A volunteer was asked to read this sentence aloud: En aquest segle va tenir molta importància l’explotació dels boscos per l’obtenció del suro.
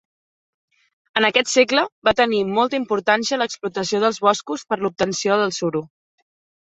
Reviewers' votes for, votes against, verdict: 3, 0, accepted